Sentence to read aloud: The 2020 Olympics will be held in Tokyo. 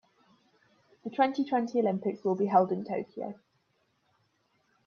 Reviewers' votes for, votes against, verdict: 0, 2, rejected